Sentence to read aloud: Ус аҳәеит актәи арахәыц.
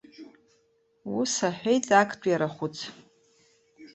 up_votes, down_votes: 2, 1